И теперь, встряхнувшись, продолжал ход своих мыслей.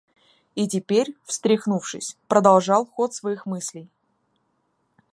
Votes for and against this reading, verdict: 1, 2, rejected